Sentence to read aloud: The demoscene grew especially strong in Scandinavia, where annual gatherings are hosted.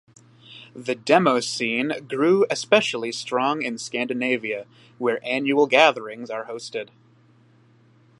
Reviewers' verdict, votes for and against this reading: accepted, 2, 1